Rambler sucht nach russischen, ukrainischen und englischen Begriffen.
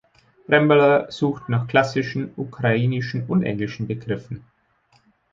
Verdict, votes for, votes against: rejected, 0, 2